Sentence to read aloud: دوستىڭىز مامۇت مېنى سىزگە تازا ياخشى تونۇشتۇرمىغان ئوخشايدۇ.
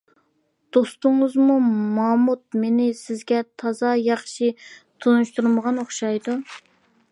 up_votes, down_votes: 0, 2